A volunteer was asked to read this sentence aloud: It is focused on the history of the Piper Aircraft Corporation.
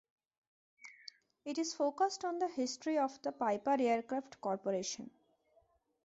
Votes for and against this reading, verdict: 2, 0, accepted